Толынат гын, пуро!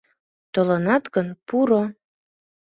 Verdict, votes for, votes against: accepted, 2, 0